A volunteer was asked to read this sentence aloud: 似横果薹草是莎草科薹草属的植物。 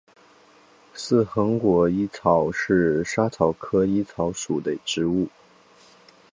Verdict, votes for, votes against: rejected, 0, 4